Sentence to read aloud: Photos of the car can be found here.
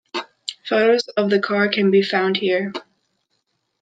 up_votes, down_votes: 2, 0